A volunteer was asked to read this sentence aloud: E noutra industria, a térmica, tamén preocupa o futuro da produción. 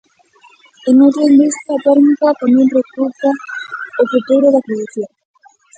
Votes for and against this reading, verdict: 0, 2, rejected